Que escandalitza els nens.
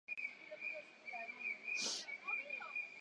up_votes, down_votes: 0, 2